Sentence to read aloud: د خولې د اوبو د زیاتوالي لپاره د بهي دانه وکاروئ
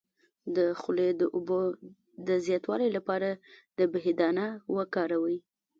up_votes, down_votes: 0, 2